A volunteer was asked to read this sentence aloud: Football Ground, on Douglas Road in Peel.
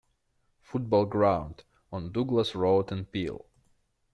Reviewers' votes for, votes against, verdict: 0, 2, rejected